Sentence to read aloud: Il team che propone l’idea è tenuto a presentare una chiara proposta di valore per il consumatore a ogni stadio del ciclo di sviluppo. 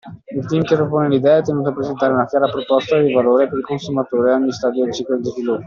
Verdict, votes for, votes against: accepted, 2, 1